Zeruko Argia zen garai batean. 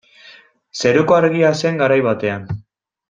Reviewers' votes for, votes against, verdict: 2, 0, accepted